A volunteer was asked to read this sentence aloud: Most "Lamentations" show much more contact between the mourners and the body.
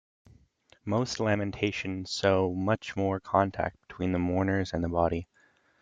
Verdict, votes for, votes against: accepted, 2, 0